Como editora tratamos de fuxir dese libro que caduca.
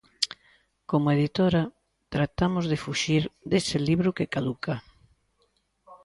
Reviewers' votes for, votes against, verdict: 2, 0, accepted